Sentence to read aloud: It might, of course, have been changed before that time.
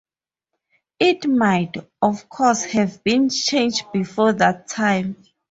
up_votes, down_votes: 4, 0